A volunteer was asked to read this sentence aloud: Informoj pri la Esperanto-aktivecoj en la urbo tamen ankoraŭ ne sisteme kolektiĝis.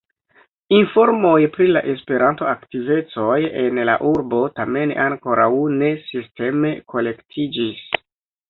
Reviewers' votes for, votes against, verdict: 1, 2, rejected